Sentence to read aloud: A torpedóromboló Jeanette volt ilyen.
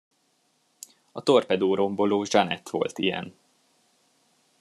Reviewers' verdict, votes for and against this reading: accepted, 2, 0